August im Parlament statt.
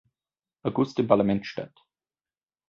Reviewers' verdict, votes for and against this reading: accepted, 2, 0